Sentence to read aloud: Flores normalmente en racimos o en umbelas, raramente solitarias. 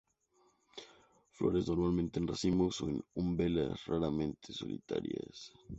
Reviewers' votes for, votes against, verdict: 2, 2, rejected